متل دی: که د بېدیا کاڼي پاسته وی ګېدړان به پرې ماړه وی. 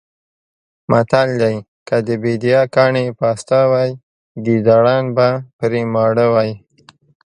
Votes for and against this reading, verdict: 2, 0, accepted